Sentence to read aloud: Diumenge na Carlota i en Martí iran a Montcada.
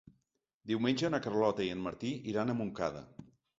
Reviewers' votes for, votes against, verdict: 3, 0, accepted